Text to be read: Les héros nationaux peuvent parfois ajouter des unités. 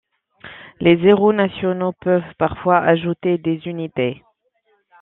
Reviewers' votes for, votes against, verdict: 0, 2, rejected